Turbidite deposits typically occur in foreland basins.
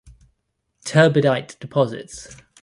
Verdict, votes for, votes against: rejected, 0, 2